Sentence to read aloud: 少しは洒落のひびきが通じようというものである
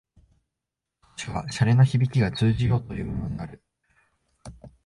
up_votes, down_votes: 0, 2